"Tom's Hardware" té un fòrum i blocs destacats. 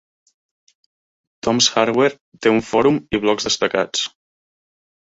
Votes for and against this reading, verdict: 2, 0, accepted